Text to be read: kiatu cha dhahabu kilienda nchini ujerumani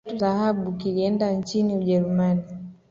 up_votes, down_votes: 2, 1